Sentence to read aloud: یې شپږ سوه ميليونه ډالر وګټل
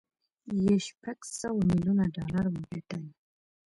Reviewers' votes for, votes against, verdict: 2, 0, accepted